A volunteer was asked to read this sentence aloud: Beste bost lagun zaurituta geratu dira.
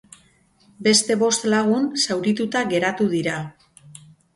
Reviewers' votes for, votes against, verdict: 0, 2, rejected